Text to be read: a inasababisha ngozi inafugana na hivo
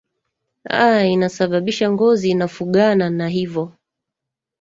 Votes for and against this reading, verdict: 1, 2, rejected